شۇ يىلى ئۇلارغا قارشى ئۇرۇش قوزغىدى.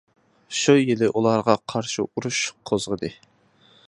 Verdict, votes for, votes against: accepted, 2, 0